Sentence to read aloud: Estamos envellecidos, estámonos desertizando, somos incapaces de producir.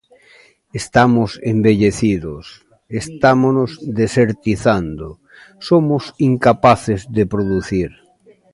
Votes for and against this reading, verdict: 0, 2, rejected